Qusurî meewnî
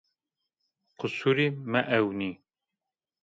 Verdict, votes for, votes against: rejected, 0, 2